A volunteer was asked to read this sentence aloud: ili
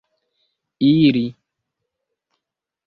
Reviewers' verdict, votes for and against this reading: rejected, 0, 2